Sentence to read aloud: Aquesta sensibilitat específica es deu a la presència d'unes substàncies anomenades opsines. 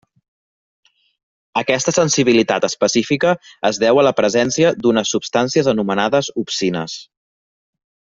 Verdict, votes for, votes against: accepted, 3, 0